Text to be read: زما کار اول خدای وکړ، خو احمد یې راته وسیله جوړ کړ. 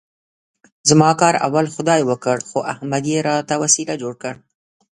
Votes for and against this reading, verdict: 1, 2, rejected